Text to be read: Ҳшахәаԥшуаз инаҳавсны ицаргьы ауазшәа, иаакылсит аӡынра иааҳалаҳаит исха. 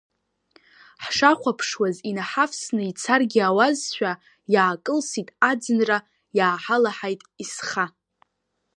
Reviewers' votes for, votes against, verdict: 0, 2, rejected